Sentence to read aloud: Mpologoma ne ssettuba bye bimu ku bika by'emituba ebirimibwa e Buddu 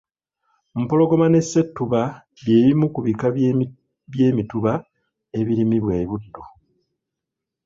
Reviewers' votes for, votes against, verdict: 1, 2, rejected